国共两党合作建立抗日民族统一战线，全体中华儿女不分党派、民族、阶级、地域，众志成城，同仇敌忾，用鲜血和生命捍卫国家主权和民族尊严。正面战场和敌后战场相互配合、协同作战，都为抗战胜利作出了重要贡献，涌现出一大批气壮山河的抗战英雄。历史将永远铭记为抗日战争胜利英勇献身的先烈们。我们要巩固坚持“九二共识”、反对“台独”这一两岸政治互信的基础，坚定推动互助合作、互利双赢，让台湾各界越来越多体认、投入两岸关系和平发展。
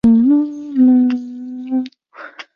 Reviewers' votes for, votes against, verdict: 2, 4, rejected